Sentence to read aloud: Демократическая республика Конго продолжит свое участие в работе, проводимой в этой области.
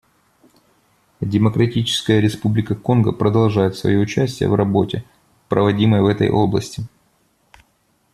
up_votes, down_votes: 0, 2